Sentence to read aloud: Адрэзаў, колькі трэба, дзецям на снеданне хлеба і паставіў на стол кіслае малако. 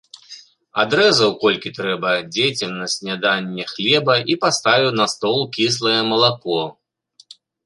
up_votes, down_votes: 2, 1